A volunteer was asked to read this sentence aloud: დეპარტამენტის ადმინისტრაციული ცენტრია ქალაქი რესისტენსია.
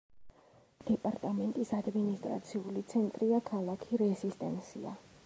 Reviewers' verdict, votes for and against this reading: rejected, 1, 2